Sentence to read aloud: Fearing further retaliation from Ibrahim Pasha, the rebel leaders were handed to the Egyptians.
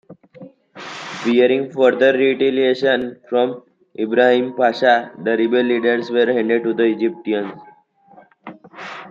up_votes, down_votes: 0, 2